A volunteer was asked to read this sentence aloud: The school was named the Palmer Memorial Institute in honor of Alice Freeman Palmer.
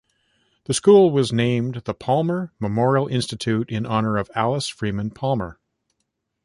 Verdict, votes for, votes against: accepted, 2, 0